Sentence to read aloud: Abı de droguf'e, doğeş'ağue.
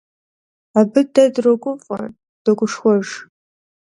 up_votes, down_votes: 0, 2